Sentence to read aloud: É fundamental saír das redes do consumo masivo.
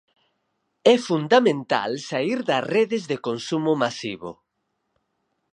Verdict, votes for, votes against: rejected, 2, 4